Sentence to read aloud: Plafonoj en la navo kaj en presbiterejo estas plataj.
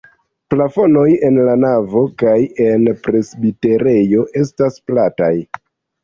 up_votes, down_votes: 2, 1